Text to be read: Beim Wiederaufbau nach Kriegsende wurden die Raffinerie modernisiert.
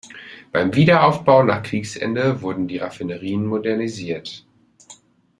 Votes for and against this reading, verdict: 1, 2, rejected